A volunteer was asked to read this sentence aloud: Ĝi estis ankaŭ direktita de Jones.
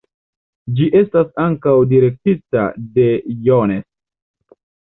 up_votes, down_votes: 2, 0